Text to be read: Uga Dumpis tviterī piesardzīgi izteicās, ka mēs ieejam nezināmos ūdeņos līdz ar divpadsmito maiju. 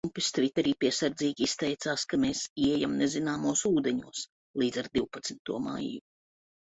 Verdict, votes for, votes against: rejected, 0, 2